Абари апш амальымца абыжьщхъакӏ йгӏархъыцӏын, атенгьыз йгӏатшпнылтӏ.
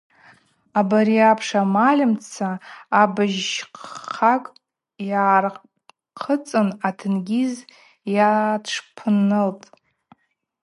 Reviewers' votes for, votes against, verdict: 2, 2, rejected